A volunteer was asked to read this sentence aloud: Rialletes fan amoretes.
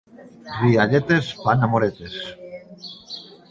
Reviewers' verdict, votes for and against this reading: rejected, 1, 2